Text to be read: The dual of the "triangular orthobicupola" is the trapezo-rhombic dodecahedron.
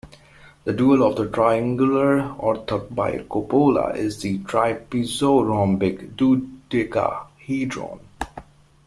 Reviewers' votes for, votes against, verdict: 1, 2, rejected